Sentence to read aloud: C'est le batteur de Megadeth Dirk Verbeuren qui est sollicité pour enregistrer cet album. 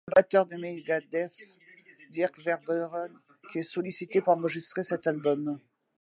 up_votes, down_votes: 2, 1